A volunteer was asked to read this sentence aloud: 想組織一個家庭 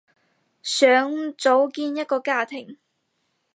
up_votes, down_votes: 0, 4